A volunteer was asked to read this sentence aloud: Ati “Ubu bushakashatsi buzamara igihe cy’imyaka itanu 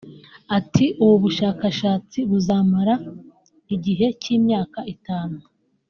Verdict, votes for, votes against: accepted, 2, 0